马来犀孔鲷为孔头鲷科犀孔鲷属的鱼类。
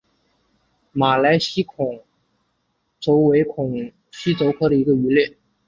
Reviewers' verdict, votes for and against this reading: rejected, 1, 2